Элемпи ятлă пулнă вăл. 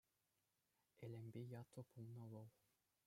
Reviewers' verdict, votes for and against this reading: rejected, 1, 2